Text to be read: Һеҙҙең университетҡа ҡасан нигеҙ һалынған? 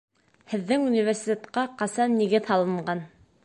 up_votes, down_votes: 0, 2